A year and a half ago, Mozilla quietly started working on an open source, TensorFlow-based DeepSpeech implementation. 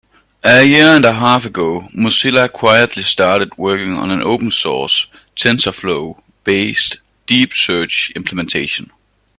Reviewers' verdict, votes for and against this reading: rejected, 1, 2